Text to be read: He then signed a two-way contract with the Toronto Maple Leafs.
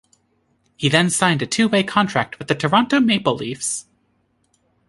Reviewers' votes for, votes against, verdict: 2, 0, accepted